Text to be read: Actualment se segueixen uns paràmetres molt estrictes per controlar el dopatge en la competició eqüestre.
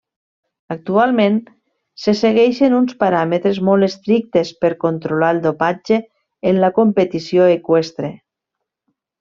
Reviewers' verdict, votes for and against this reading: accepted, 3, 0